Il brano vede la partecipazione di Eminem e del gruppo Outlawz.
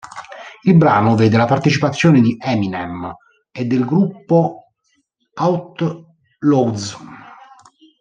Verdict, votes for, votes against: rejected, 1, 2